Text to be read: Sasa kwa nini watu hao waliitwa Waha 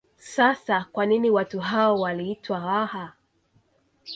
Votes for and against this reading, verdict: 2, 0, accepted